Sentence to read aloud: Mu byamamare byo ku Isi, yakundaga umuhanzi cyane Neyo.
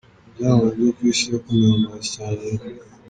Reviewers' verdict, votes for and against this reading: rejected, 0, 2